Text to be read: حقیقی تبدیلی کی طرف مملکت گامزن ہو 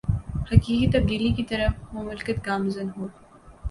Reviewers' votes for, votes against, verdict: 2, 0, accepted